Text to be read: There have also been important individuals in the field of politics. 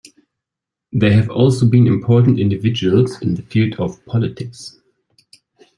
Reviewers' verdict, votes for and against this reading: accepted, 2, 1